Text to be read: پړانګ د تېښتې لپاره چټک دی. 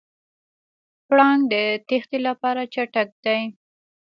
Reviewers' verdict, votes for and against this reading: rejected, 1, 2